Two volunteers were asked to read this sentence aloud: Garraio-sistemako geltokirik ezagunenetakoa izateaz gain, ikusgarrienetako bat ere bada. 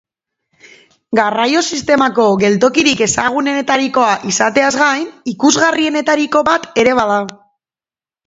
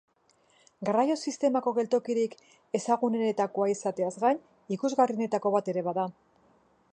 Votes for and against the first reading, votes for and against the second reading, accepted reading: 0, 2, 3, 0, second